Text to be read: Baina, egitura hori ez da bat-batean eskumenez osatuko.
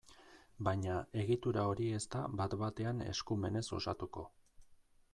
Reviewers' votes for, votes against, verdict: 2, 0, accepted